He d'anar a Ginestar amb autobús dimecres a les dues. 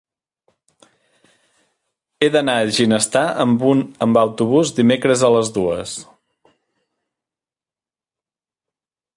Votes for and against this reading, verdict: 0, 2, rejected